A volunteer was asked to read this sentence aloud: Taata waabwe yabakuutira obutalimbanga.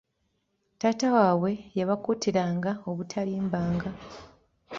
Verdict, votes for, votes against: accepted, 2, 1